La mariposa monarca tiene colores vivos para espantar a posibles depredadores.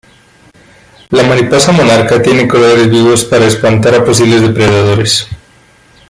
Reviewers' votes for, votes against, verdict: 2, 0, accepted